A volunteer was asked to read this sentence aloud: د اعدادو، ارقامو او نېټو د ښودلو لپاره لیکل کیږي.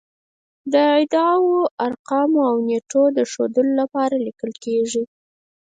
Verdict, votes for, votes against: rejected, 2, 4